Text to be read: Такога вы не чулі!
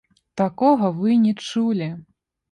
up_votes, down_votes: 2, 0